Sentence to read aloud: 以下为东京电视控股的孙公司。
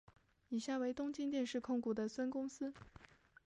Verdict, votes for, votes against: accepted, 2, 0